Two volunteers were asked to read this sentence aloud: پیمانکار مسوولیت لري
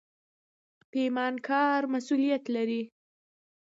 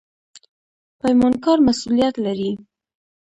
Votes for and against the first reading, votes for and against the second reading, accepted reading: 2, 0, 0, 2, first